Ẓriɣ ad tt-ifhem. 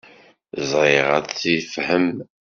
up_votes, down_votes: 0, 2